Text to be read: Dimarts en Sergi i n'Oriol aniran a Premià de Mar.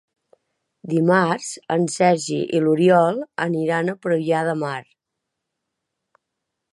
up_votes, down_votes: 2, 0